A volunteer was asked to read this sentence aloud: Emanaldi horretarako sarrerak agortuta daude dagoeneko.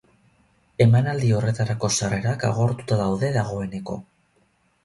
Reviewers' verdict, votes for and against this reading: accepted, 8, 0